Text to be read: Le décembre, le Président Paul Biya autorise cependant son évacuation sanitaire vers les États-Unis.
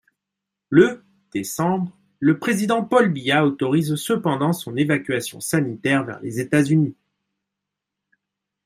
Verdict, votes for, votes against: accepted, 2, 0